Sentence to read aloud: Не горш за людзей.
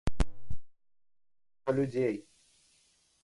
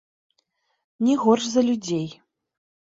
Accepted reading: second